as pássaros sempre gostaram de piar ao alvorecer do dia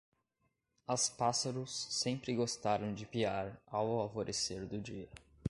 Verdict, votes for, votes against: accepted, 2, 0